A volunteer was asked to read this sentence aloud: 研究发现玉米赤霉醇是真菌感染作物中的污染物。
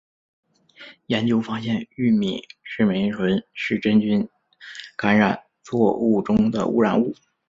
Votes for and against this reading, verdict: 2, 0, accepted